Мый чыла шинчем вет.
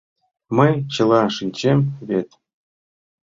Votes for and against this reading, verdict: 2, 0, accepted